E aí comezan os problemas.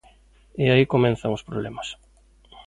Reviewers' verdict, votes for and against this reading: rejected, 0, 2